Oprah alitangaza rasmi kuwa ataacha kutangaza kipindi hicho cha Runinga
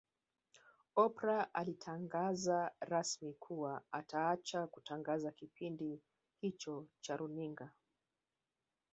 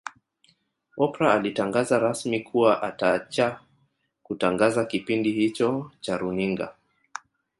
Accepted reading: second